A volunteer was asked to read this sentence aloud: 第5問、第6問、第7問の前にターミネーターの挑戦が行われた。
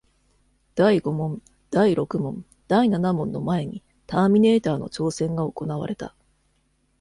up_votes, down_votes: 0, 2